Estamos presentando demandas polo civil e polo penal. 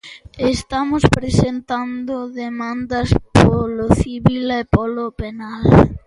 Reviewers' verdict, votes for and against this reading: accepted, 2, 0